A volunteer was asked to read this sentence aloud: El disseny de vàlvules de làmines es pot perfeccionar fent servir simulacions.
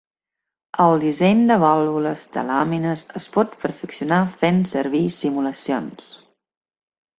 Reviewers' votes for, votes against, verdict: 5, 2, accepted